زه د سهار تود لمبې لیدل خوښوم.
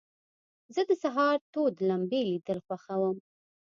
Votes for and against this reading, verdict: 2, 0, accepted